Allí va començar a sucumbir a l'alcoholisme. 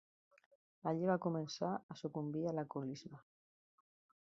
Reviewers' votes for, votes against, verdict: 2, 0, accepted